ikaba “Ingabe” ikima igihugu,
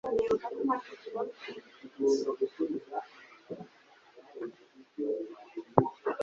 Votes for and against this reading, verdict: 2, 1, accepted